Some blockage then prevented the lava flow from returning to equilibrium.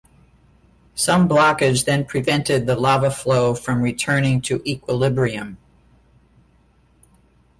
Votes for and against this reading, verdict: 2, 0, accepted